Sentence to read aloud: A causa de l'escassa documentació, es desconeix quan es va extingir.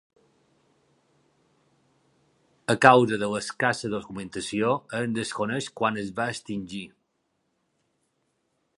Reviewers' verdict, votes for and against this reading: accepted, 2, 0